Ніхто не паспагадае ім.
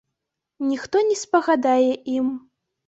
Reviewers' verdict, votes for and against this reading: rejected, 1, 2